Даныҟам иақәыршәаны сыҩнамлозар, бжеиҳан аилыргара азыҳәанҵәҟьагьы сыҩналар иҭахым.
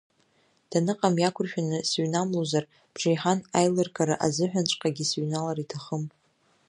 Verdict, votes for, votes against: accepted, 2, 0